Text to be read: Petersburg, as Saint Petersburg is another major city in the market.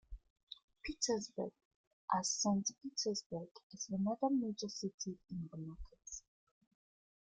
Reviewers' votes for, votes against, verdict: 0, 2, rejected